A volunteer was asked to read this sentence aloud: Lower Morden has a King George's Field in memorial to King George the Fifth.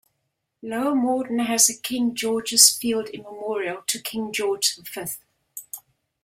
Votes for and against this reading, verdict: 2, 0, accepted